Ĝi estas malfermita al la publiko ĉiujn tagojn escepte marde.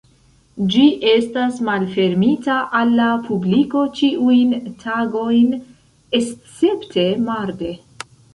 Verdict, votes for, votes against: rejected, 1, 2